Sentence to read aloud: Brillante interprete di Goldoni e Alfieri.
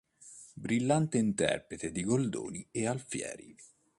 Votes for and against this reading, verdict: 2, 0, accepted